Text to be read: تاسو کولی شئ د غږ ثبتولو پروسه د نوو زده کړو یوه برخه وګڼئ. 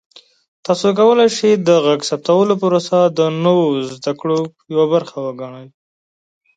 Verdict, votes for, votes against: accepted, 2, 0